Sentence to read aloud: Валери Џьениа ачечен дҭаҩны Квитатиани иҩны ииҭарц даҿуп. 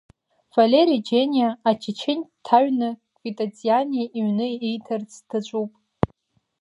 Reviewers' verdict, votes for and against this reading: accepted, 2, 1